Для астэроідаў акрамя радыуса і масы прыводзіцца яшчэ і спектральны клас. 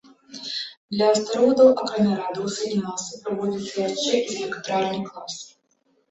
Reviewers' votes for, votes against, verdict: 1, 2, rejected